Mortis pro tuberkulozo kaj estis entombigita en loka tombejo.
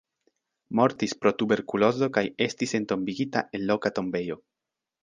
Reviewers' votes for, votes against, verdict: 1, 2, rejected